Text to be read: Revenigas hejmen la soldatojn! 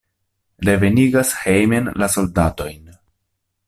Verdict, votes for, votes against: accepted, 2, 0